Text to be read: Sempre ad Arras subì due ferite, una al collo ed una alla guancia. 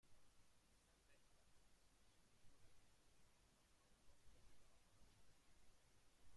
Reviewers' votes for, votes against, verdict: 0, 2, rejected